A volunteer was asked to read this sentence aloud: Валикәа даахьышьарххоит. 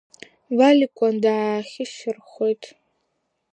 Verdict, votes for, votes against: accepted, 2, 1